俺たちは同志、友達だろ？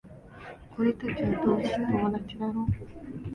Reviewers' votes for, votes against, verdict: 1, 2, rejected